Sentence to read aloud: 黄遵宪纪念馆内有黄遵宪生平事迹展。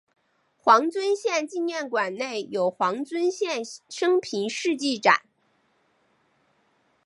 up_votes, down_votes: 2, 0